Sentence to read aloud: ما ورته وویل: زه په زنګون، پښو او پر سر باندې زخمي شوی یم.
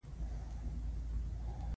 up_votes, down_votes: 2, 1